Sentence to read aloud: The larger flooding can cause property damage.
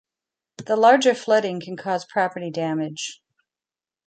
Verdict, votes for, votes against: accepted, 2, 1